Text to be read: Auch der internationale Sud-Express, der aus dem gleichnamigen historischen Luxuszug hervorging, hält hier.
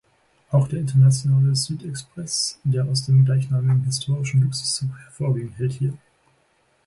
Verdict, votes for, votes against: rejected, 0, 2